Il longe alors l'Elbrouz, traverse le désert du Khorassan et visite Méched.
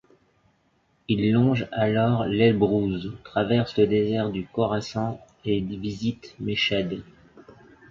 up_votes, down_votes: 1, 2